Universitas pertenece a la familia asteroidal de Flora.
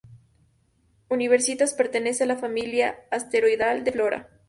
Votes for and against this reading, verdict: 0, 2, rejected